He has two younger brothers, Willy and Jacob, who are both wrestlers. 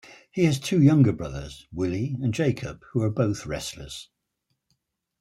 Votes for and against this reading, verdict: 2, 0, accepted